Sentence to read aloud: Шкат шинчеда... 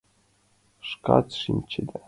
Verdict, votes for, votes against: accepted, 2, 0